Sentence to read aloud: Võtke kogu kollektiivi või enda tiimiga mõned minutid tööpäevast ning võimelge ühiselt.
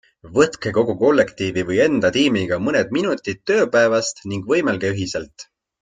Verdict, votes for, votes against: accepted, 2, 0